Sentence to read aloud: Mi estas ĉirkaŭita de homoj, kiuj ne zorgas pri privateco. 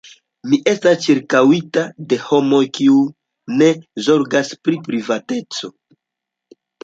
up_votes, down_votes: 2, 0